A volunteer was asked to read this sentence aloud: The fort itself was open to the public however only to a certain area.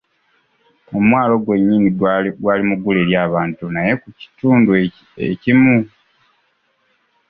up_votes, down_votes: 0, 2